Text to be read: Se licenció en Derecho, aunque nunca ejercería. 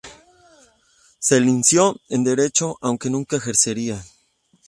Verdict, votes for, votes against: rejected, 0, 2